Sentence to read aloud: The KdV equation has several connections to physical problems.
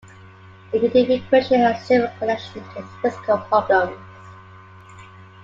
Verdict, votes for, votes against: rejected, 0, 2